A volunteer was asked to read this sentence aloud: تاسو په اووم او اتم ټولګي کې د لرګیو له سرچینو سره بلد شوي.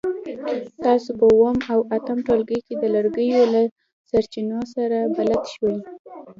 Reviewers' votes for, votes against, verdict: 1, 2, rejected